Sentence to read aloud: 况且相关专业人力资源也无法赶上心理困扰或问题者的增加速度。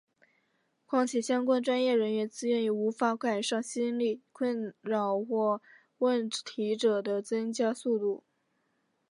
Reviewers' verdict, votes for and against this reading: rejected, 1, 2